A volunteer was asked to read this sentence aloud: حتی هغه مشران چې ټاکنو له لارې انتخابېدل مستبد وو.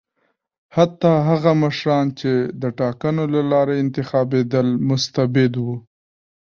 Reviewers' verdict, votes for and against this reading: accepted, 2, 0